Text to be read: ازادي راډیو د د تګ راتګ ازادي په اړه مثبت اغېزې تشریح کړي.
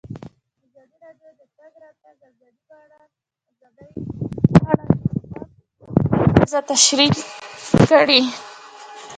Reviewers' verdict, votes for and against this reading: rejected, 0, 2